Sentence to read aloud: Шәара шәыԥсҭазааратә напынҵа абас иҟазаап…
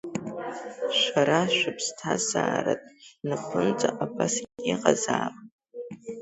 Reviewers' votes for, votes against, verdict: 3, 1, accepted